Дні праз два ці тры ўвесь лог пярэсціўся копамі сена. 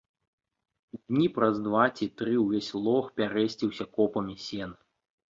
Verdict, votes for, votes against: accepted, 2, 0